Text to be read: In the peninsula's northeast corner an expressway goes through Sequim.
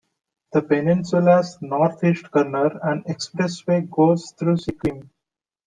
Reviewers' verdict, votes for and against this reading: rejected, 0, 2